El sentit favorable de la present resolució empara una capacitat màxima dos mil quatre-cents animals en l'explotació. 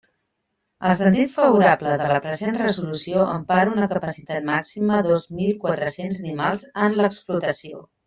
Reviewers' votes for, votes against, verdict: 1, 2, rejected